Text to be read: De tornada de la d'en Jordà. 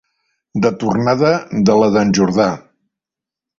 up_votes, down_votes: 3, 0